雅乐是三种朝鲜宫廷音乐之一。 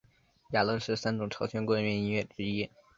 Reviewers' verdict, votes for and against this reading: accepted, 3, 0